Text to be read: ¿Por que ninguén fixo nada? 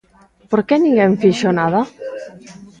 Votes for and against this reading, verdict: 2, 0, accepted